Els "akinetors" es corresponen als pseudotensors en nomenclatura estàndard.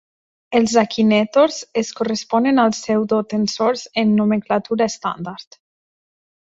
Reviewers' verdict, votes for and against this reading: accepted, 2, 0